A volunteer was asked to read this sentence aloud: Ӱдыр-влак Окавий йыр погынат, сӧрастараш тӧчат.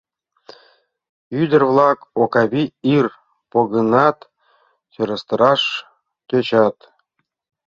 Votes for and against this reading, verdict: 0, 2, rejected